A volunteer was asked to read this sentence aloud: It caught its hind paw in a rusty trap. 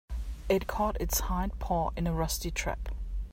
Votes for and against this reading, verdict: 2, 0, accepted